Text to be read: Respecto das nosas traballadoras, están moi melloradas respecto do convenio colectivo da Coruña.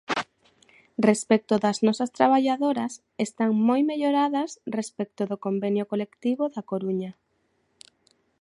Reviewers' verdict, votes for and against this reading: accepted, 2, 1